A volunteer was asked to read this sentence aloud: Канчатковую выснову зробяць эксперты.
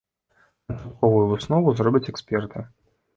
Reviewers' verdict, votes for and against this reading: rejected, 0, 2